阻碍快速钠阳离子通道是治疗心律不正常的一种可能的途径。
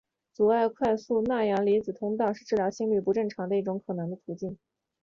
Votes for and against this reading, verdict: 2, 1, accepted